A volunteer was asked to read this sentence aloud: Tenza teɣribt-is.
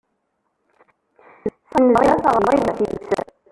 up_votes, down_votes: 0, 2